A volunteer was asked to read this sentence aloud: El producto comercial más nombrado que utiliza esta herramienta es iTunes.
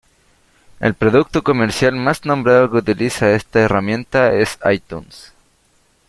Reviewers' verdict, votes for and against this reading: accepted, 2, 0